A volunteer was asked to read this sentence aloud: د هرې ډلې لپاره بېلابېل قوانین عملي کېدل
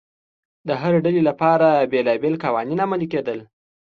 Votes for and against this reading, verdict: 2, 0, accepted